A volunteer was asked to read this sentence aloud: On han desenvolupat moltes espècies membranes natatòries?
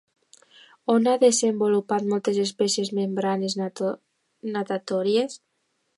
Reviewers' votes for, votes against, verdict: 0, 2, rejected